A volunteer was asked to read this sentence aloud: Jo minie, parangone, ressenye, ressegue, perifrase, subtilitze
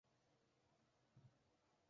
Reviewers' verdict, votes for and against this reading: rejected, 0, 2